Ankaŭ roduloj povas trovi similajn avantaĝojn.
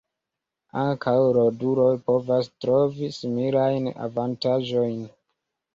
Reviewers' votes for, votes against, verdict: 0, 2, rejected